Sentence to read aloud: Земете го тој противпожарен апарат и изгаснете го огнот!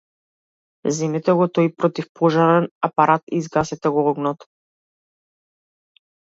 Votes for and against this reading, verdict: 1, 2, rejected